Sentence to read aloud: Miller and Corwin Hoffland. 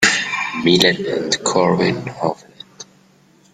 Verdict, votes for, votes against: rejected, 1, 2